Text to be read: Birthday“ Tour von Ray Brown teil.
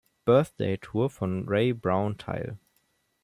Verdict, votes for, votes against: accepted, 2, 0